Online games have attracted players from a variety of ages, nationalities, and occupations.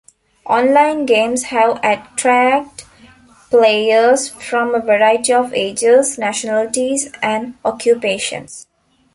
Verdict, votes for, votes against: rejected, 0, 2